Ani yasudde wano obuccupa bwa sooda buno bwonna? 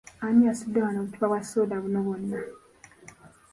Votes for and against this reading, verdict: 2, 1, accepted